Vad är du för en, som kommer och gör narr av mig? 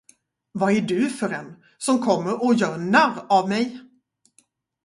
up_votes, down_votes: 0, 2